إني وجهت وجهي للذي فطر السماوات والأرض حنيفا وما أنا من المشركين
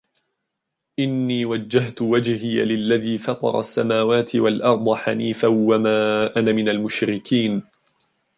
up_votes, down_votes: 1, 2